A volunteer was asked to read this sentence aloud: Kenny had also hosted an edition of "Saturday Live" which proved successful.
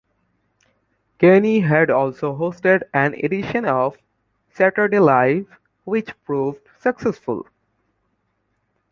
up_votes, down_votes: 2, 0